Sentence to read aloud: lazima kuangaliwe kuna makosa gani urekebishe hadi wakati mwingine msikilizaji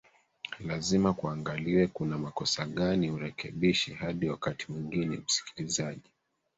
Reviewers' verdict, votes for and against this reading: accepted, 2, 1